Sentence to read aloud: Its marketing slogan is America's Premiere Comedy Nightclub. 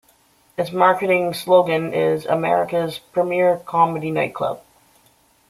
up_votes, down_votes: 2, 0